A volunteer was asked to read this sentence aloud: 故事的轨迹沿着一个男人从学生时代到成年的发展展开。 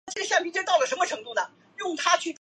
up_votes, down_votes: 0, 2